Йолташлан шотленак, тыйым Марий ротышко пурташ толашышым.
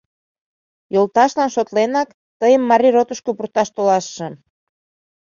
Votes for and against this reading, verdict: 2, 0, accepted